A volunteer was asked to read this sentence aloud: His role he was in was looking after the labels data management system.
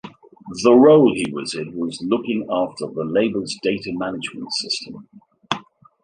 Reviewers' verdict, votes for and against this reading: rejected, 0, 2